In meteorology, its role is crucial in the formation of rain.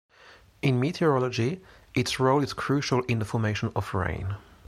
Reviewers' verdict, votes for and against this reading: accepted, 3, 0